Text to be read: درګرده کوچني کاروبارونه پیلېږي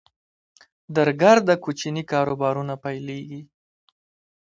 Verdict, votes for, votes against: rejected, 1, 2